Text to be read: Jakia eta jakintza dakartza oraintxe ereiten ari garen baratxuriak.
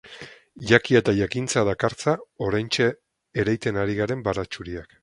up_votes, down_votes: 4, 0